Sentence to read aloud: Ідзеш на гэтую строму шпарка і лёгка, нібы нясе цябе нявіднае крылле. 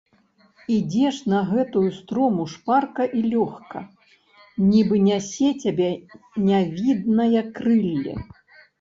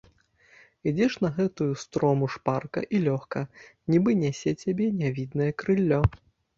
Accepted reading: first